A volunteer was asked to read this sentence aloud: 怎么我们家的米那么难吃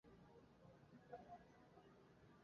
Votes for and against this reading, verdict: 0, 2, rejected